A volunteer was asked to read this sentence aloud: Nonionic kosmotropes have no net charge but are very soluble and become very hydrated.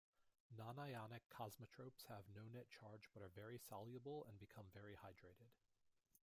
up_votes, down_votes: 2, 0